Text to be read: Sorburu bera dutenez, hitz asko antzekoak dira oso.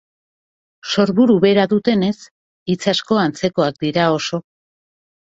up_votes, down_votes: 2, 0